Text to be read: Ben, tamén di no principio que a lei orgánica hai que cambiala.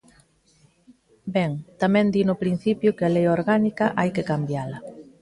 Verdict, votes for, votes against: accepted, 2, 0